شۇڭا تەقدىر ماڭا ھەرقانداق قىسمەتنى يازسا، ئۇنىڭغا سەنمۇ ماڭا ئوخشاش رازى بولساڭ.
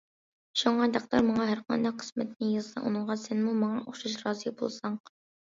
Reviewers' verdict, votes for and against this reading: accepted, 2, 0